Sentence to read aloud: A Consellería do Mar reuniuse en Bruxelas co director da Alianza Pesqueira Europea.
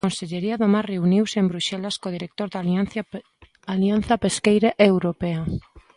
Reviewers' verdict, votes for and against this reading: rejected, 0, 2